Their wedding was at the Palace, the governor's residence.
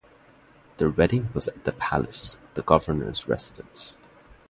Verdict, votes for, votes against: accepted, 2, 0